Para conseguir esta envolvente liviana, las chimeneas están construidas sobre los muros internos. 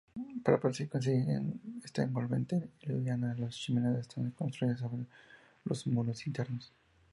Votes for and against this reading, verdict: 0, 2, rejected